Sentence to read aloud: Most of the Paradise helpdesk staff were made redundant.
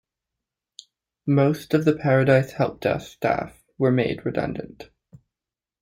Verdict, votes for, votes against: rejected, 0, 2